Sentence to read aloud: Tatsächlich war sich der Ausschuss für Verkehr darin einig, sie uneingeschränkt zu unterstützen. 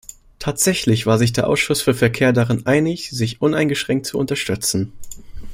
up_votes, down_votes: 0, 2